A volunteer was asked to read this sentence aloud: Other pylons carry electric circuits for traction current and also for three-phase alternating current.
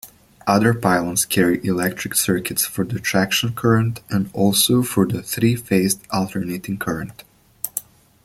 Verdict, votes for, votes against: rejected, 1, 2